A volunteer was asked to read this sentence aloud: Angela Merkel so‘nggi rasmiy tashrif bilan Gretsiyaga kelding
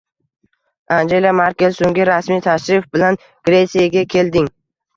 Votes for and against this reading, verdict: 2, 1, accepted